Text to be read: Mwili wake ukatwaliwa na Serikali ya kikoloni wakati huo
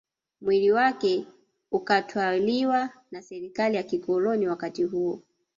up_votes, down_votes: 2, 1